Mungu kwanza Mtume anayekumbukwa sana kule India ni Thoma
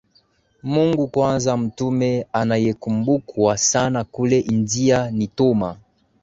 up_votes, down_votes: 14, 1